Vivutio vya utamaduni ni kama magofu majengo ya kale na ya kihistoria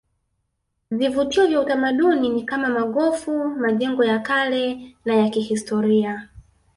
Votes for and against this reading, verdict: 2, 0, accepted